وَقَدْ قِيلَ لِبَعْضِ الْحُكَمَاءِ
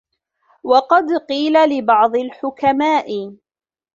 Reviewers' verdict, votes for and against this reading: rejected, 1, 2